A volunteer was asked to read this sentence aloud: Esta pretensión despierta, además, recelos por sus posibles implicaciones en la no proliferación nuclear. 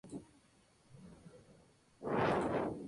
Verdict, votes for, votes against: rejected, 0, 2